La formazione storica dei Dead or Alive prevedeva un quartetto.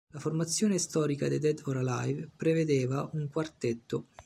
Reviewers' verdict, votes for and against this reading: rejected, 1, 2